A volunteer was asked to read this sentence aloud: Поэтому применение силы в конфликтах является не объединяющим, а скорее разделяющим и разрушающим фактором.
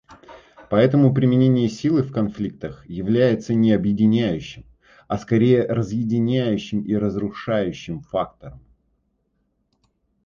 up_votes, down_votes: 1, 2